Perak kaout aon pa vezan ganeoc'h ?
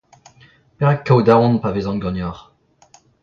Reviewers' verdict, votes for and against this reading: rejected, 0, 2